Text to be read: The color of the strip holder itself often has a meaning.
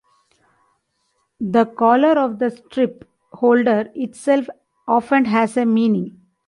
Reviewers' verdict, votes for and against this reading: accepted, 2, 0